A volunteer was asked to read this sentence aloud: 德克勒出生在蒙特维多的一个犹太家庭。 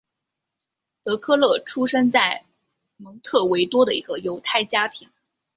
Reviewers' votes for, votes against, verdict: 3, 1, accepted